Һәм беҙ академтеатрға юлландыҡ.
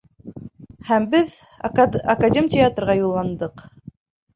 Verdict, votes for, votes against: accepted, 2, 1